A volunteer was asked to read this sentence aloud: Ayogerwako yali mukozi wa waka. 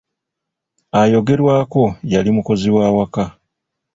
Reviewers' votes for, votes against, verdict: 2, 0, accepted